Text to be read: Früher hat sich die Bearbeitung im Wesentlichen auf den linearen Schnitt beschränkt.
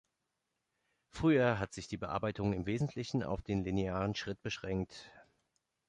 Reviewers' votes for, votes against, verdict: 0, 2, rejected